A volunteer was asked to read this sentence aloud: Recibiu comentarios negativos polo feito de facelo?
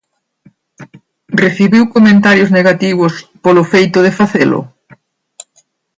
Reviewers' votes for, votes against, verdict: 2, 0, accepted